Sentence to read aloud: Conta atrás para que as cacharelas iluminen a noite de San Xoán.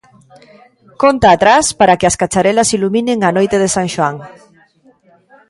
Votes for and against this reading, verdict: 2, 1, accepted